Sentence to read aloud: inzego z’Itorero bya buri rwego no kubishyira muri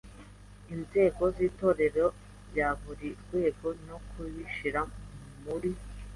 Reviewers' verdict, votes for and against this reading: accepted, 2, 0